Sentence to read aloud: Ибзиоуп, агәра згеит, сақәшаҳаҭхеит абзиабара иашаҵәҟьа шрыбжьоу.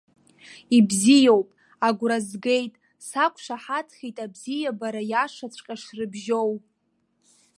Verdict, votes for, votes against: accepted, 2, 0